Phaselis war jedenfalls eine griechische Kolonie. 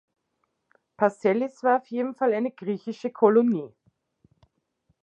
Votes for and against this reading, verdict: 0, 2, rejected